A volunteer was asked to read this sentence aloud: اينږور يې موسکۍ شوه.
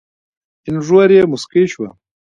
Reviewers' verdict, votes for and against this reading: rejected, 1, 2